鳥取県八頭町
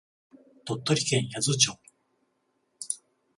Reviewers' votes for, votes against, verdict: 14, 0, accepted